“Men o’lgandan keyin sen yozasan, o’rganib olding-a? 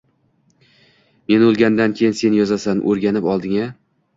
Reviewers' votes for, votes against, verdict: 1, 2, rejected